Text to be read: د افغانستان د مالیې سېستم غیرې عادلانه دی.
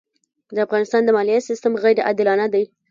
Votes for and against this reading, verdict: 3, 1, accepted